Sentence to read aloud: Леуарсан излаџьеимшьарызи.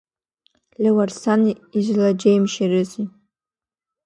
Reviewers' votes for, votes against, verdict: 0, 2, rejected